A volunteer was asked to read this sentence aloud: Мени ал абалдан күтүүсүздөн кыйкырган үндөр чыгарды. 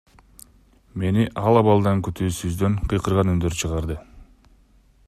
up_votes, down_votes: 2, 0